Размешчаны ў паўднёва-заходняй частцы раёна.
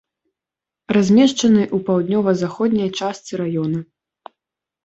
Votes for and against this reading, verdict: 2, 0, accepted